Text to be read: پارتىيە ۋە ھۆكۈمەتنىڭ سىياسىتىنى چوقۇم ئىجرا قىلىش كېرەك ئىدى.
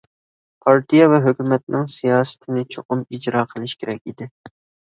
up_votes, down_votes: 2, 0